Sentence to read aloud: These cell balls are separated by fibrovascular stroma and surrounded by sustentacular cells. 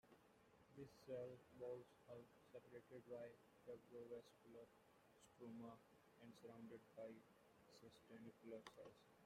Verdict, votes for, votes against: rejected, 0, 2